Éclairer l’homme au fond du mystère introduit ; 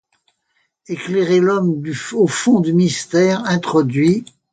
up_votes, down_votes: 0, 2